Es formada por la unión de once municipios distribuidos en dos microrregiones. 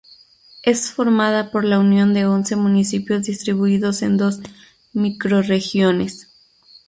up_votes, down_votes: 0, 2